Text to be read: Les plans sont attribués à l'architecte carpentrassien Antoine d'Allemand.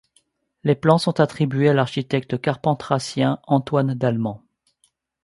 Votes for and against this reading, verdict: 2, 0, accepted